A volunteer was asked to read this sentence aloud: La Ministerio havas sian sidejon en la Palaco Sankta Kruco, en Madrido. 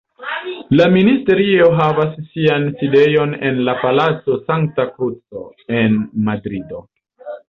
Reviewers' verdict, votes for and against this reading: accepted, 2, 0